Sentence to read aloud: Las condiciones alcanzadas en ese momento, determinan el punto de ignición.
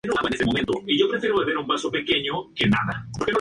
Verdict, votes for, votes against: accepted, 2, 0